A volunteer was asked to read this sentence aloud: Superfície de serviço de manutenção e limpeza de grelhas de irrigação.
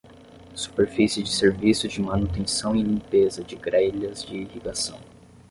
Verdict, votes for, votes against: rejected, 5, 5